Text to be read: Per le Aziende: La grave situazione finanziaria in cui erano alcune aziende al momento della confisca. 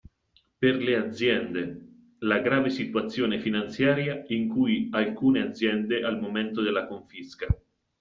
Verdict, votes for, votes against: rejected, 0, 2